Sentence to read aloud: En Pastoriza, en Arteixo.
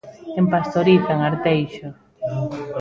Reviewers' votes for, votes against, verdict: 1, 2, rejected